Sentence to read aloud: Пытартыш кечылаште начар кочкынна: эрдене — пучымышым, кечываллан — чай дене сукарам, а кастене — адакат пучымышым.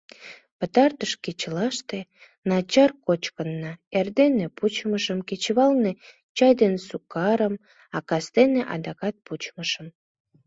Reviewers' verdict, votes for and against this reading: rejected, 1, 2